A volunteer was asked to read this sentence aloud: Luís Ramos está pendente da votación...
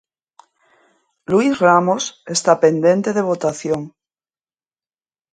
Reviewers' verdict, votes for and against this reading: rejected, 0, 2